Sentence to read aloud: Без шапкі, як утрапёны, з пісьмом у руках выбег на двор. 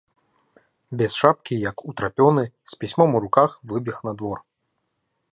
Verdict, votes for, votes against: rejected, 1, 2